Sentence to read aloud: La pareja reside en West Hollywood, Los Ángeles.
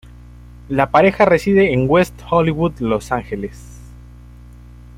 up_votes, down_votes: 2, 1